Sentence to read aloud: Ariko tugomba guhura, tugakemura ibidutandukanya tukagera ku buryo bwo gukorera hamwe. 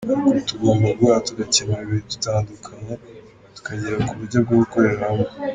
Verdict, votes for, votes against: rejected, 1, 2